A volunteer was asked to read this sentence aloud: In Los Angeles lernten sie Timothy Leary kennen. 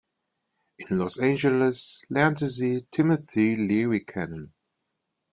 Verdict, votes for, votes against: rejected, 0, 2